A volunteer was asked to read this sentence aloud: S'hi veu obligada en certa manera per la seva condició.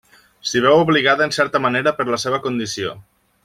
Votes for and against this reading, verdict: 3, 0, accepted